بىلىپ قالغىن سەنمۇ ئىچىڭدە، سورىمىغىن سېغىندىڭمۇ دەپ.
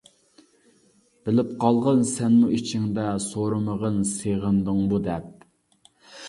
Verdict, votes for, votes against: accepted, 2, 0